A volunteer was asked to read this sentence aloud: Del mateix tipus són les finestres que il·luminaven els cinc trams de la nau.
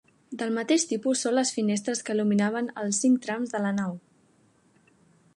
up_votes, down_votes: 3, 0